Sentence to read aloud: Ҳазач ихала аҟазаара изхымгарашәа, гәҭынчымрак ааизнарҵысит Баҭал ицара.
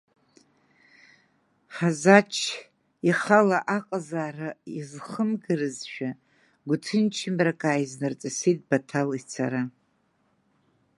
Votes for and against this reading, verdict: 0, 2, rejected